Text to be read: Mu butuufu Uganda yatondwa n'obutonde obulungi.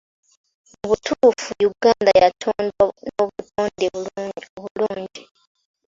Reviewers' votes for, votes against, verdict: 1, 3, rejected